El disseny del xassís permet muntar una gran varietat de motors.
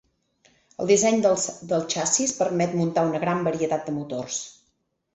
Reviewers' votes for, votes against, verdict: 0, 4, rejected